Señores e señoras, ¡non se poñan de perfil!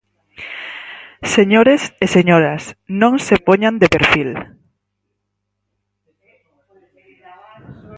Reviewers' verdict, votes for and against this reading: rejected, 2, 4